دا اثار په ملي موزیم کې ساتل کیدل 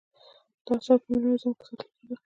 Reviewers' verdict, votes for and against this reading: rejected, 0, 2